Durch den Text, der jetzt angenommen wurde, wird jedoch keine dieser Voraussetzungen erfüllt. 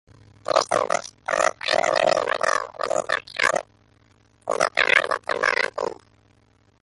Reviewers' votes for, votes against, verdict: 0, 2, rejected